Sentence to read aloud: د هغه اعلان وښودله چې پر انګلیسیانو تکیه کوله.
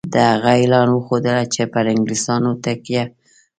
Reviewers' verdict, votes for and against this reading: rejected, 1, 2